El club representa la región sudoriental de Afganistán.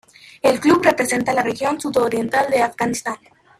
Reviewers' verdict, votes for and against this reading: rejected, 0, 2